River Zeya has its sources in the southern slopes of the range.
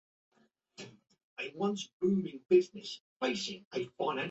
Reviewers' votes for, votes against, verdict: 0, 2, rejected